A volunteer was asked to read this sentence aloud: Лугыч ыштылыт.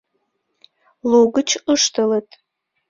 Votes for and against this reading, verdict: 2, 0, accepted